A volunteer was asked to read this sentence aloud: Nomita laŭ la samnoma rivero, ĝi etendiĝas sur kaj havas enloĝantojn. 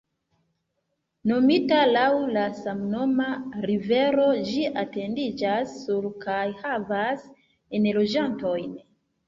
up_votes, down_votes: 1, 2